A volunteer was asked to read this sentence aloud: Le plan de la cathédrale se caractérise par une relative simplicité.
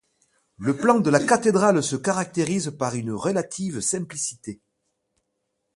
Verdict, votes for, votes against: accepted, 2, 0